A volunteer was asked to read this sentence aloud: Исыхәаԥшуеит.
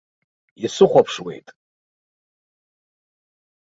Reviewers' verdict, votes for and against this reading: accepted, 2, 0